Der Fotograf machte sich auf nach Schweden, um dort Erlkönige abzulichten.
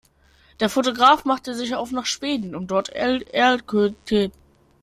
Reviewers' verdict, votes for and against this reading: rejected, 0, 2